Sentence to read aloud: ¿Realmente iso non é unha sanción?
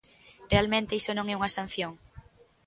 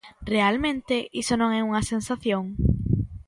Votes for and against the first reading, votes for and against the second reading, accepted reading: 2, 0, 0, 2, first